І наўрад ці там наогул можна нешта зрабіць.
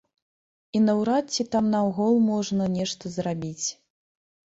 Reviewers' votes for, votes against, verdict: 0, 2, rejected